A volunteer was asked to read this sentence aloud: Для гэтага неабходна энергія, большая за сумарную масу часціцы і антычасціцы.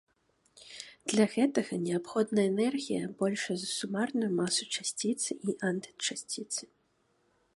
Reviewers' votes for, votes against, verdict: 2, 0, accepted